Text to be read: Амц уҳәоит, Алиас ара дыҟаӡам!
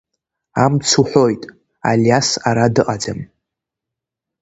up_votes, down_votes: 3, 0